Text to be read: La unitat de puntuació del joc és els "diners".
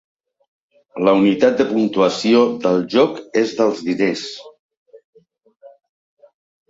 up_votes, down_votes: 0, 2